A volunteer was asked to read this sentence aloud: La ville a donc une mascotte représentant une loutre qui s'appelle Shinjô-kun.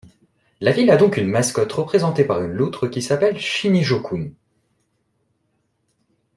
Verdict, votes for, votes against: rejected, 1, 2